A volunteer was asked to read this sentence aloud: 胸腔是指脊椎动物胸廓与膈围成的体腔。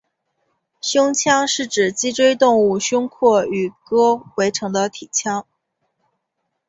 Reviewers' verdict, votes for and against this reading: accepted, 2, 1